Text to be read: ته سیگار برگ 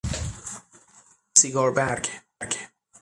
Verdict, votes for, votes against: rejected, 0, 6